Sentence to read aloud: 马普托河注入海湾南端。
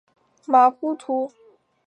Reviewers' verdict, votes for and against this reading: rejected, 1, 3